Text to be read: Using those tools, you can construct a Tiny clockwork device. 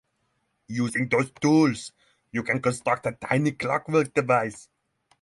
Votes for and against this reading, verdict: 6, 0, accepted